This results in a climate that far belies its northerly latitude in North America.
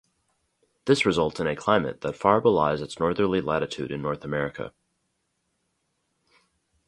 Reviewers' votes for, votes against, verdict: 2, 0, accepted